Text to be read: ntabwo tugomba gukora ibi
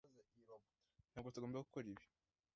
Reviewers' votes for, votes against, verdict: 1, 2, rejected